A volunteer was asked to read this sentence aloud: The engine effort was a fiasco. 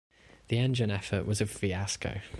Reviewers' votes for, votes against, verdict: 1, 2, rejected